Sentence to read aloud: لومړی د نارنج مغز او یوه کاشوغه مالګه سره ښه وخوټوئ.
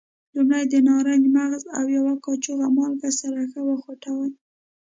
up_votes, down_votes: 2, 0